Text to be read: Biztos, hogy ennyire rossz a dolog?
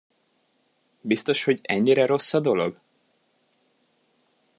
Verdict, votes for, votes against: accepted, 2, 0